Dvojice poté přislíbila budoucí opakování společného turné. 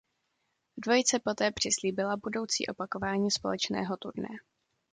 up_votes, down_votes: 2, 0